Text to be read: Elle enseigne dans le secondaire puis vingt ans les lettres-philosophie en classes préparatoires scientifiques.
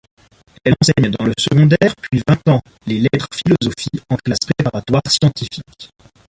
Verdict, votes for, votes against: rejected, 1, 2